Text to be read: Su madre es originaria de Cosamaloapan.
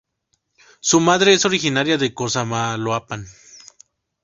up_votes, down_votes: 2, 2